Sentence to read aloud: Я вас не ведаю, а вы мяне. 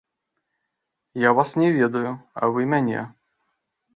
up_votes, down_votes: 2, 0